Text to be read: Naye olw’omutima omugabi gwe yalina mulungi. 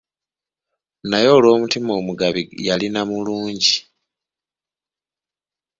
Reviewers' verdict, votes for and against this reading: rejected, 0, 2